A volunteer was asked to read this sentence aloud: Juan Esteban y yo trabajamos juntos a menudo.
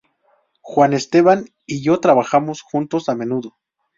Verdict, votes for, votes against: accepted, 2, 0